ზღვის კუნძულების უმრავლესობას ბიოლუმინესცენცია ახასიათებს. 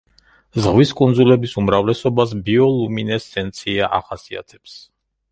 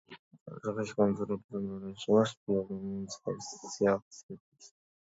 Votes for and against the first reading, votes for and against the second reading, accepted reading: 2, 0, 1, 2, first